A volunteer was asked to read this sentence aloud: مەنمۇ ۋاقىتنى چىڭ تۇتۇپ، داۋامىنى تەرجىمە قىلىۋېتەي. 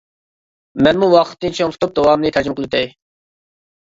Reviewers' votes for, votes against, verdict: 1, 2, rejected